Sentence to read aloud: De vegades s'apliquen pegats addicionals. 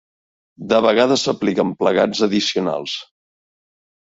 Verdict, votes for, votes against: rejected, 1, 4